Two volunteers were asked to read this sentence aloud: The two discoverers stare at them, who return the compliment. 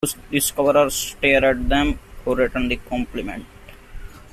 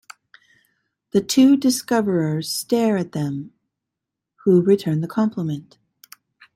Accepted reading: second